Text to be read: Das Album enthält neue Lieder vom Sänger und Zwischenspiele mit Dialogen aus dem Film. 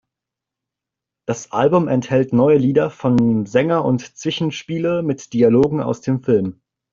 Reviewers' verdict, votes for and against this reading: rejected, 0, 2